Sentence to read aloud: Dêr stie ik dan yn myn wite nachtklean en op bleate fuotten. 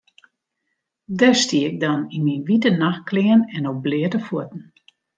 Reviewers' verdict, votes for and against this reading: accepted, 2, 0